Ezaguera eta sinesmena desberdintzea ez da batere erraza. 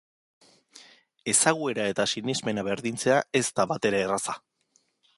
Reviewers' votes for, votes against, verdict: 1, 2, rejected